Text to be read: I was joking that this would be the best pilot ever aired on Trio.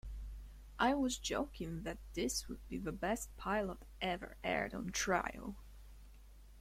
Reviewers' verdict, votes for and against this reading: accepted, 2, 0